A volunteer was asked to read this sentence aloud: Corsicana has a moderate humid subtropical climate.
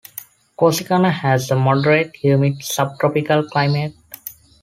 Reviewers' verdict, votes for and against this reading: accepted, 2, 0